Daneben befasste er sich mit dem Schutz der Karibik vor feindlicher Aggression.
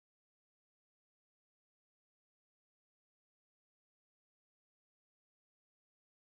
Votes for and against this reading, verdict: 0, 3, rejected